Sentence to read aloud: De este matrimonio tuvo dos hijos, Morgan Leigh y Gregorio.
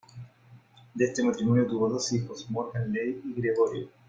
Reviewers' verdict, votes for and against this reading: accepted, 2, 1